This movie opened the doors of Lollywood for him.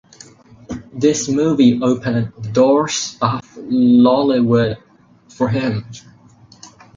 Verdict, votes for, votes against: rejected, 0, 4